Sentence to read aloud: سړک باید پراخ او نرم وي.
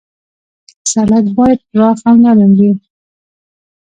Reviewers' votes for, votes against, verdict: 0, 2, rejected